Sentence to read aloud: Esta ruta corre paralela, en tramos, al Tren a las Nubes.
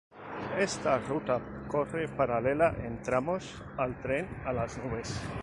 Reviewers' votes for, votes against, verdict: 0, 2, rejected